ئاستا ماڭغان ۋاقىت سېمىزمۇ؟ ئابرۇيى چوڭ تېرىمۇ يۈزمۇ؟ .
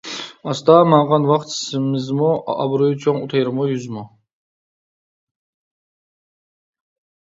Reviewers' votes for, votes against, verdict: 1, 2, rejected